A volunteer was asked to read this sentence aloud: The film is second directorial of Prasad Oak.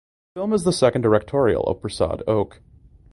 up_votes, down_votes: 1, 2